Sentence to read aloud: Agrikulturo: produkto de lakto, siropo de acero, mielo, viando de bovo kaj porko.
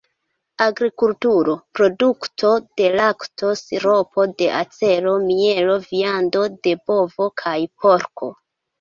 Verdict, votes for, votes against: accepted, 2, 0